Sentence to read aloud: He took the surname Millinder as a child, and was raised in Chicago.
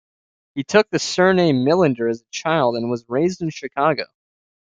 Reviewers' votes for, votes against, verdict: 2, 1, accepted